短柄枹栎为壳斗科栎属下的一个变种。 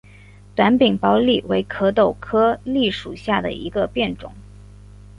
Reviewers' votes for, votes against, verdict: 2, 0, accepted